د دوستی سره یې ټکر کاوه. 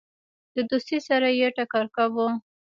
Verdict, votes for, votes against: rejected, 1, 2